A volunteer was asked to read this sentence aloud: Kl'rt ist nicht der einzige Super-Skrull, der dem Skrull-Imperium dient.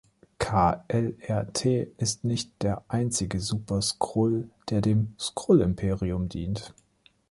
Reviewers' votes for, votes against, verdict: 1, 2, rejected